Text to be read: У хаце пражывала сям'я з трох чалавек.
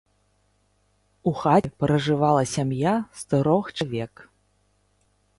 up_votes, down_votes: 0, 2